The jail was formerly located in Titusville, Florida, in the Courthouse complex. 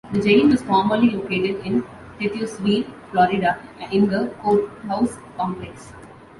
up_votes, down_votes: 2, 1